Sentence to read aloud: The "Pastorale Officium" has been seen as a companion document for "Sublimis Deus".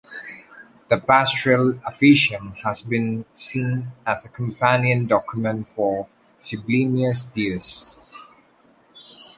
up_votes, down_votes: 2, 0